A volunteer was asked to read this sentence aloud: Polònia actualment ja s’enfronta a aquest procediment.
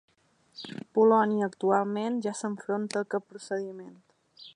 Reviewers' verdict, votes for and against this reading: accepted, 2, 0